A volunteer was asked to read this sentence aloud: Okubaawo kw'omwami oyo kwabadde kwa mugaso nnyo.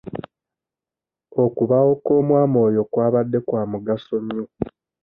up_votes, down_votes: 2, 1